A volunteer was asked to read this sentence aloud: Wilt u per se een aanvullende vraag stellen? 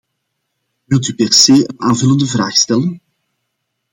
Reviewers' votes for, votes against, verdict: 2, 0, accepted